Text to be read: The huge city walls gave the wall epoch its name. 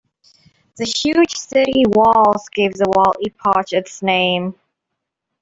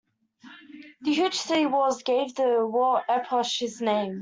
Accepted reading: first